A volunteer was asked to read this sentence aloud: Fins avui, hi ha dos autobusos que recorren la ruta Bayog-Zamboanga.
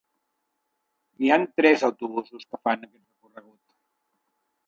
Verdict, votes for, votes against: rejected, 0, 2